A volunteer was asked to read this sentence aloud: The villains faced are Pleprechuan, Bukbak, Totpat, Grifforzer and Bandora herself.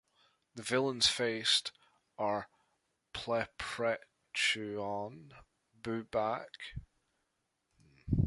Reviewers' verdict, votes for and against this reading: rejected, 0, 2